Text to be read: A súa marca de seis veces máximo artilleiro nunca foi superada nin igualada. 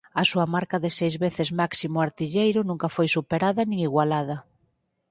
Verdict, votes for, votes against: accepted, 4, 0